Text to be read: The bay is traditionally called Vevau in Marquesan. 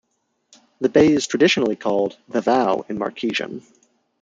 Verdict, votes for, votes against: rejected, 0, 2